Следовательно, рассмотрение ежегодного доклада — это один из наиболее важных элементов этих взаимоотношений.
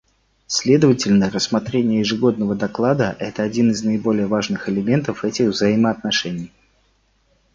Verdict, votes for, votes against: accepted, 2, 0